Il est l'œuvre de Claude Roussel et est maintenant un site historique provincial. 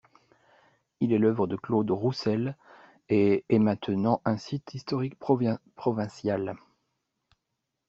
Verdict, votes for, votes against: rejected, 0, 2